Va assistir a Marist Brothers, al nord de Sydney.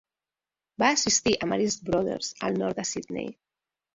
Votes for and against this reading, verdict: 3, 1, accepted